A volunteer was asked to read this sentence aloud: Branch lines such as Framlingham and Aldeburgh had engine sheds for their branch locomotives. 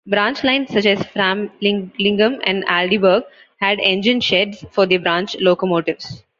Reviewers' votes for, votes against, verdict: 0, 2, rejected